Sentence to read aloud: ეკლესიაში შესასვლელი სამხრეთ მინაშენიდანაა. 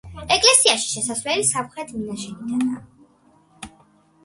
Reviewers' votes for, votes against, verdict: 2, 0, accepted